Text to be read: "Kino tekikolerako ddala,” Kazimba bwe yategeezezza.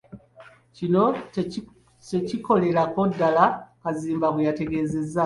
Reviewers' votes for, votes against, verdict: 1, 2, rejected